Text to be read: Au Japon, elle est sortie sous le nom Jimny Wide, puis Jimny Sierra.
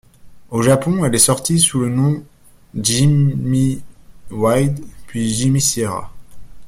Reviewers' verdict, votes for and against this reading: rejected, 1, 2